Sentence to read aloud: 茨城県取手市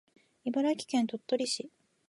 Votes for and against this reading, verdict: 1, 3, rejected